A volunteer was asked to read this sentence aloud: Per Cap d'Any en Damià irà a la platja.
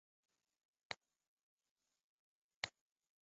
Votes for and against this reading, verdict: 0, 2, rejected